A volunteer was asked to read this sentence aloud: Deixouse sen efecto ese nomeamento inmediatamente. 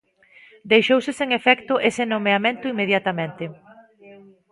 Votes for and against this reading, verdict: 1, 2, rejected